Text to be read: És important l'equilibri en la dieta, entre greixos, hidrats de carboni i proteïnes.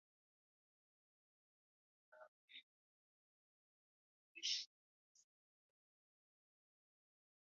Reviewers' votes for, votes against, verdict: 0, 2, rejected